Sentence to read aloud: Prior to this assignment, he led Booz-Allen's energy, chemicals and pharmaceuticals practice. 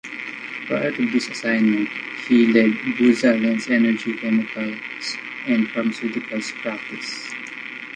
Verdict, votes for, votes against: accepted, 2, 0